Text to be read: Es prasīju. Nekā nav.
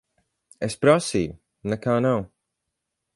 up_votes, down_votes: 4, 0